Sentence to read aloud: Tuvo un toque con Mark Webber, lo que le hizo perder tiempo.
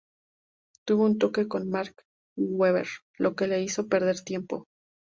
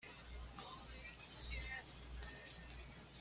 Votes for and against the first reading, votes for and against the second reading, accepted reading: 4, 0, 1, 2, first